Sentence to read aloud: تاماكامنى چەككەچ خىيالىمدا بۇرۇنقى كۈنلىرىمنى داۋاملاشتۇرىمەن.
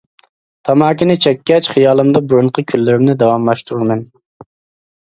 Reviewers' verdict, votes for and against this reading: rejected, 0, 2